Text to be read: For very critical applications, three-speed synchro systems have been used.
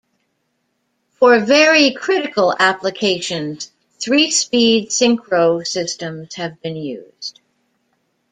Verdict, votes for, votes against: accepted, 2, 0